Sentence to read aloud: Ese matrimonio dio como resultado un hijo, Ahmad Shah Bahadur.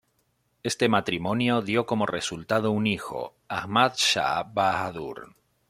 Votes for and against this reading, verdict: 1, 2, rejected